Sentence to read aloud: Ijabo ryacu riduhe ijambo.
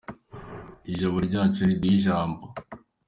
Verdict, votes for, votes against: accepted, 3, 0